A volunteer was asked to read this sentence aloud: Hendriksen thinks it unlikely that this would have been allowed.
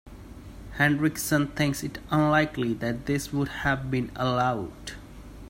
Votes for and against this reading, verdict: 2, 0, accepted